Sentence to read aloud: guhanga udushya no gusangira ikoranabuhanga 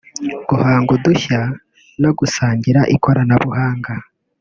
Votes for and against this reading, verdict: 1, 2, rejected